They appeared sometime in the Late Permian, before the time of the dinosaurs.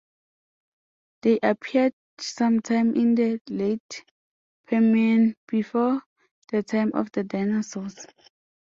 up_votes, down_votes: 2, 0